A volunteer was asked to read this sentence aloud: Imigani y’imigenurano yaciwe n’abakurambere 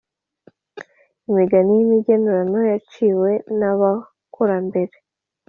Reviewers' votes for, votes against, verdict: 2, 0, accepted